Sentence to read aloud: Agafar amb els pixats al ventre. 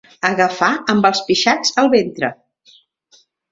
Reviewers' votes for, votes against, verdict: 3, 0, accepted